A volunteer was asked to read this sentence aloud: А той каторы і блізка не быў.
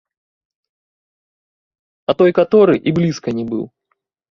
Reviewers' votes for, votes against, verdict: 2, 0, accepted